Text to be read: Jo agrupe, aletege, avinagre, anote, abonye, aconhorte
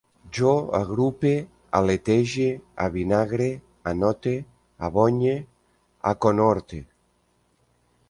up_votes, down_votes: 2, 0